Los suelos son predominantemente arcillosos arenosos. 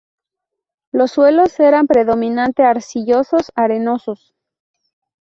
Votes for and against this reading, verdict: 0, 2, rejected